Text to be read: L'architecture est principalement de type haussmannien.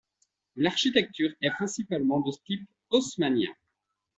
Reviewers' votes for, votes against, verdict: 2, 0, accepted